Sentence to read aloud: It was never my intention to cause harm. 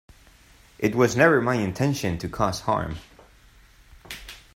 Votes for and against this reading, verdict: 2, 0, accepted